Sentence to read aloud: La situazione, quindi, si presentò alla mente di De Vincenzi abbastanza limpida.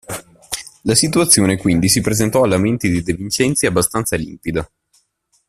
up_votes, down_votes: 1, 2